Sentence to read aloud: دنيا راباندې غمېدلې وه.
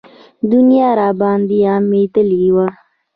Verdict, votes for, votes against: accepted, 2, 0